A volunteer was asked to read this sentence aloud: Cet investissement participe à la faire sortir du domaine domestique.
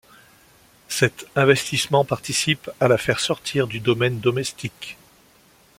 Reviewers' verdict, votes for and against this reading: accepted, 2, 0